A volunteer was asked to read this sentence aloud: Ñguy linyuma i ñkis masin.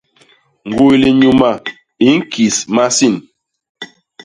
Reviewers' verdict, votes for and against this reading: accepted, 2, 0